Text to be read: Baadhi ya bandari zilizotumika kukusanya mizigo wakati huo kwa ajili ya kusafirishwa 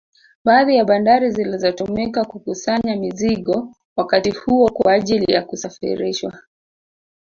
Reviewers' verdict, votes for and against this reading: rejected, 1, 2